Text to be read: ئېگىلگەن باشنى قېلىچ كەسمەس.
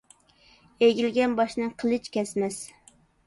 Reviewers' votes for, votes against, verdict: 2, 0, accepted